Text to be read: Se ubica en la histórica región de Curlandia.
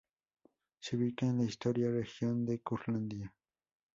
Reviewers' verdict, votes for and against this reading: rejected, 0, 2